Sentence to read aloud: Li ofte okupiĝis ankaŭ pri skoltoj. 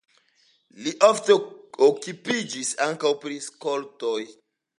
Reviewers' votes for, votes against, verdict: 2, 1, accepted